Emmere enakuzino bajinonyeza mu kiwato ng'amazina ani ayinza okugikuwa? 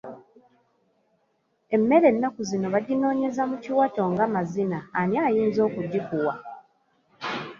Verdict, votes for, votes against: accepted, 2, 0